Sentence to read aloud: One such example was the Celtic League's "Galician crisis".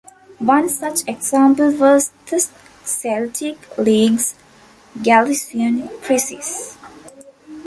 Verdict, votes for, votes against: rejected, 1, 2